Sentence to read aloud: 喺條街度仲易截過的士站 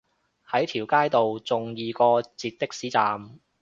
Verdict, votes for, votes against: rejected, 1, 2